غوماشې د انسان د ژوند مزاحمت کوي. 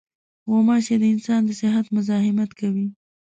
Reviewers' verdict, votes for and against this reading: rejected, 0, 2